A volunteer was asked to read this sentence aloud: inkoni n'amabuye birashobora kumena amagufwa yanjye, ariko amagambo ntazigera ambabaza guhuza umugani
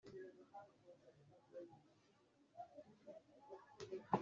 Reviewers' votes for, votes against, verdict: 1, 2, rejected